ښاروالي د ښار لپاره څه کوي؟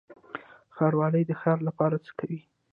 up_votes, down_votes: 1, 2